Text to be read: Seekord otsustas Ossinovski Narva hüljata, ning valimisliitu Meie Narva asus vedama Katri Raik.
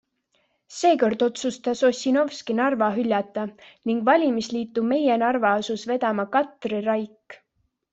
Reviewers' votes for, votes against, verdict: 2, 0, accepted